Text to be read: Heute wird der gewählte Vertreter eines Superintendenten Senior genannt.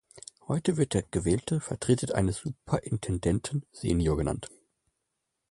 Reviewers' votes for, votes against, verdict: 1, 2, rejected